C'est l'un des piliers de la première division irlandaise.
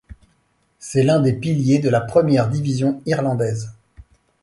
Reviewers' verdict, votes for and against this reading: accepted, 2, 0